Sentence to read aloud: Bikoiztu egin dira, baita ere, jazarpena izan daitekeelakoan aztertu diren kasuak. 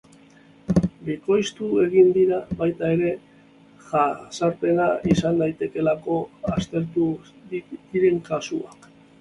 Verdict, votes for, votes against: rejected, 0, 4